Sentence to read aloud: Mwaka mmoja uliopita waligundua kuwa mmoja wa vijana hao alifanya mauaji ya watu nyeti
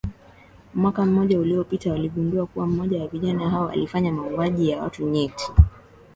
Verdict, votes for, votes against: accepted, 2, 0